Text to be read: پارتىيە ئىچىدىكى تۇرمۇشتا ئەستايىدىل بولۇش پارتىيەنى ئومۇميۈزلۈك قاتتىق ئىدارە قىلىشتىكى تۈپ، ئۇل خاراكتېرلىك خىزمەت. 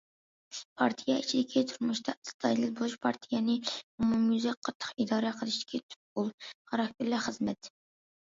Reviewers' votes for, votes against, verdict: 1, 2, rejected